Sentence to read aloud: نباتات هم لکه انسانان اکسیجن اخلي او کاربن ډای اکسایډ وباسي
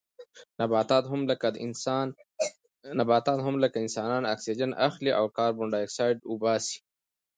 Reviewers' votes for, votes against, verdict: 1, 2, rejected